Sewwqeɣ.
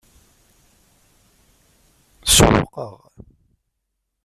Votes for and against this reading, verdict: 0, 2, rejected